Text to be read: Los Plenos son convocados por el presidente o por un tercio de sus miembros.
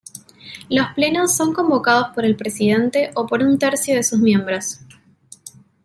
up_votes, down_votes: 2, 0